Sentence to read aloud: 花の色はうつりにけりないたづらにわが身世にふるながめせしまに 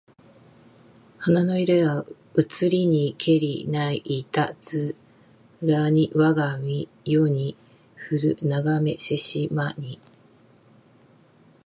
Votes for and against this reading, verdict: 2, 0, accepted